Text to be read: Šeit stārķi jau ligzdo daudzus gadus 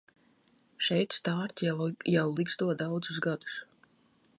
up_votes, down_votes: 1, 2